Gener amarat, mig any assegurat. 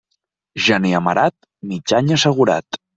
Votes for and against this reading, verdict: 2, 0, accepted